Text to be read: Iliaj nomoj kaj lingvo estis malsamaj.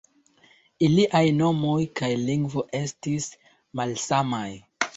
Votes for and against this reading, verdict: 2, 0, accepted